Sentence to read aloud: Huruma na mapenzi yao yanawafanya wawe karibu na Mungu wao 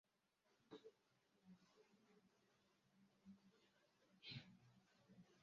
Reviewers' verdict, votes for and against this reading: rejected, 0, 2